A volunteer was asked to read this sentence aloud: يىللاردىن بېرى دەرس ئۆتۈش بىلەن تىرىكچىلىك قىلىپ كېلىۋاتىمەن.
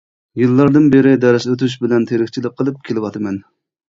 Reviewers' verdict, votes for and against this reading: accepted, 2, 0